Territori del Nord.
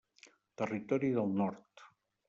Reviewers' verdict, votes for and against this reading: accepted, 3, 0